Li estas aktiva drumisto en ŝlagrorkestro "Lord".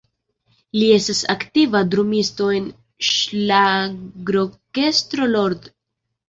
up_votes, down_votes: 0, 2